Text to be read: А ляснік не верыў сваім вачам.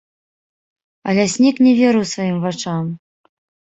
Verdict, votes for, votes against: rejected, 1, 2